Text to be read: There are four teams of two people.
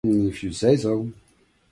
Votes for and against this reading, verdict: 0, 2, rejected